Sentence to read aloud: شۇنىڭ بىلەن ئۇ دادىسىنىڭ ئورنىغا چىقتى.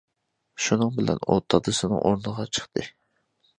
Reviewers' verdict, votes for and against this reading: accepted, 2, 1